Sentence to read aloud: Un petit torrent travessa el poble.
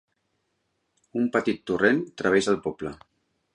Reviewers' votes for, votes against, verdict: 3, 0, accepted